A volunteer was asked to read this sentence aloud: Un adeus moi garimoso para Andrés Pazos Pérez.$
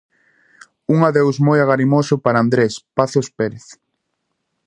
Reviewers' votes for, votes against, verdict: 0, 2, rejected